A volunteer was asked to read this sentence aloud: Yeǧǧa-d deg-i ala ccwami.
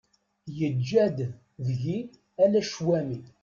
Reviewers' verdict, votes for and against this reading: accepted, 2, 0